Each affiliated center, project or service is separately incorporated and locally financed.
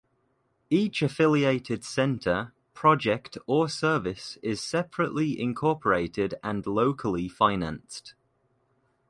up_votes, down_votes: 2, 0